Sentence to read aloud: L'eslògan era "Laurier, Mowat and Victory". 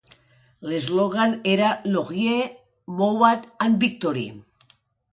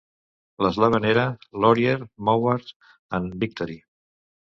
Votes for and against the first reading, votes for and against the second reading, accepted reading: 2, 0, 1, 2, first